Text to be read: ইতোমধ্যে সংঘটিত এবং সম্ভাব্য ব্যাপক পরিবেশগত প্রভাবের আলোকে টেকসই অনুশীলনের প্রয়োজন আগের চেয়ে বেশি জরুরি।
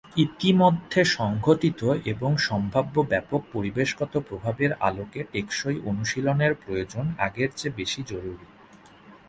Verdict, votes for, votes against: accepted, 2, 0